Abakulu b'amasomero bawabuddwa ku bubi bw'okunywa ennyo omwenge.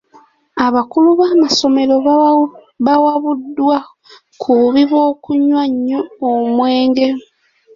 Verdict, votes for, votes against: rejected, 0, 2